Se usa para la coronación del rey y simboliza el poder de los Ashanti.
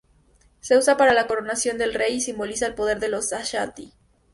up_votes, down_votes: 2, 0